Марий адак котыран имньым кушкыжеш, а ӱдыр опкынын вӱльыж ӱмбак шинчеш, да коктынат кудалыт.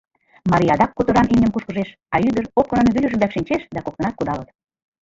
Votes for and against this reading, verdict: 0, 2, rejected